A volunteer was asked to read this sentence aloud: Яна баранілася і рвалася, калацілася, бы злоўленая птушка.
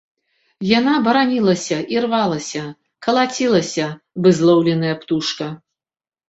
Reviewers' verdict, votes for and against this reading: accepted, 2, 0